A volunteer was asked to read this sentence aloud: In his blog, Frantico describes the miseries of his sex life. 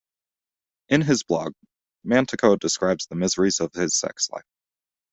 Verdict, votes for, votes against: rejected, 1, 2